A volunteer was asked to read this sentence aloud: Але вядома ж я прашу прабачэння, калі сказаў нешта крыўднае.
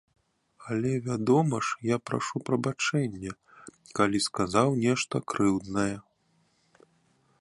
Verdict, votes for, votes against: accepted, 2, 0